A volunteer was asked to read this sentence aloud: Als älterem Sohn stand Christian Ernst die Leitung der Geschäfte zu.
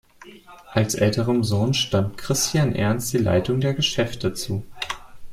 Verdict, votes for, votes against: accepted, 2, 0